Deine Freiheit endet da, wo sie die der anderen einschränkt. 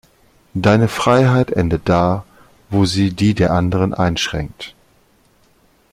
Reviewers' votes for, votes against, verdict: 2, 0, accepted